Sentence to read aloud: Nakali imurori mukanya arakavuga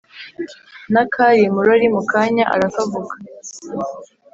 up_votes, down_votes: 2, 0